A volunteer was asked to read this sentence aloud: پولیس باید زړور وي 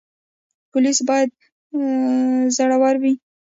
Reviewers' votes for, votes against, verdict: 1, 2, rejected